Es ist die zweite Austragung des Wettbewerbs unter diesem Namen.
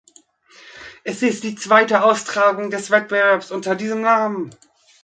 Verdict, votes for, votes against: rejected, 1, 2